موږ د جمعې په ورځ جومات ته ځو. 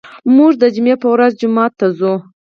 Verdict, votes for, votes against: rejected, 2, 4